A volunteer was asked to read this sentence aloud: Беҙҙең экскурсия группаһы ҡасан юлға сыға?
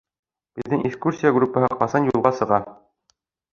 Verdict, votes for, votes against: rejected, 2, 3